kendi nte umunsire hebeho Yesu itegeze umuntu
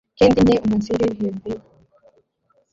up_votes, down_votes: 0, 2